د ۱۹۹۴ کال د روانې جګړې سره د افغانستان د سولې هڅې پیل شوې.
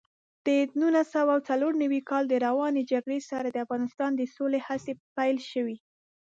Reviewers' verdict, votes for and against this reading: rejected, 0, 2